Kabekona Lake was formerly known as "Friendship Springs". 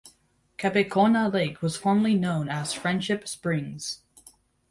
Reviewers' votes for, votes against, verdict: 2, 0, accepted